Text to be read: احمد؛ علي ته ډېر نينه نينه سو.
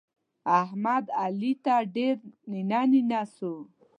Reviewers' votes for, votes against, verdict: 2, 0, accepted